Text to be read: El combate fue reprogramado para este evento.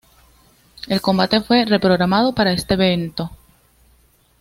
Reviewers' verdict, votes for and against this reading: accepted, 2, 0